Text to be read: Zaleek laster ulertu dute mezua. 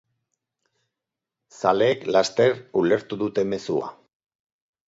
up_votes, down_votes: 8, 0